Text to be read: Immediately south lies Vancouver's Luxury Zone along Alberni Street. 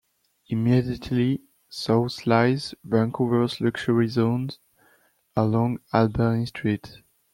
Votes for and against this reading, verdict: 2, 1, accepted